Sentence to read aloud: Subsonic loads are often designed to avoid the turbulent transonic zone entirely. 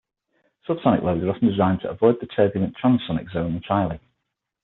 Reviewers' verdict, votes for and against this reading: accepted, 6, 0